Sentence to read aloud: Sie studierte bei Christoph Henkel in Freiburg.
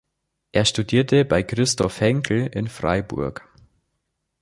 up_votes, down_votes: 0, 4